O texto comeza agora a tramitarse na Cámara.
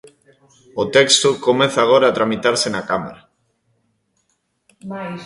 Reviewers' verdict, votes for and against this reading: rejected, 1, 2